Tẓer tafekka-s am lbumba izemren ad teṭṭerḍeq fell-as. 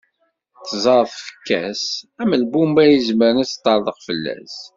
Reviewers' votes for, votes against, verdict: 1, 2, rejected